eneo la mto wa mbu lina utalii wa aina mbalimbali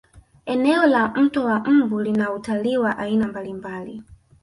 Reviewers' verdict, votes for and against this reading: accepted, 3, 1